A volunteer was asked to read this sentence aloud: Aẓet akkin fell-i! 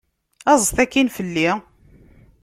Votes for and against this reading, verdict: 2, 0, accepted